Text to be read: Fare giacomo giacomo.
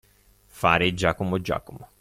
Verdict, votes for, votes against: accepted, 2, 0